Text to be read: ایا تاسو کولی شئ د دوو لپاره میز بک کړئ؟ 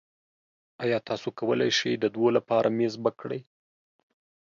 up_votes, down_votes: 3, 0